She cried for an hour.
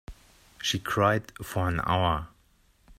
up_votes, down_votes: 2, 0